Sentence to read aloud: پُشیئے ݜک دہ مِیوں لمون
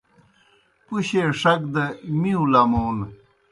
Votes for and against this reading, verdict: 2, 0, accepted